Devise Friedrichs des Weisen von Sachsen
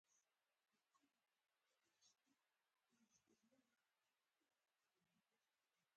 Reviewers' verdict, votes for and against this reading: rejected, 0, 4